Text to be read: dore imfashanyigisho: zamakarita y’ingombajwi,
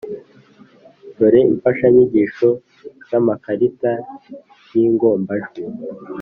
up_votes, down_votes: 2, 0